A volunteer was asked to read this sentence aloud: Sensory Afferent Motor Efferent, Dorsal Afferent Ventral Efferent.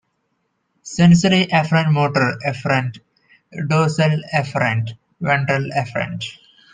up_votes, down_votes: 2, 1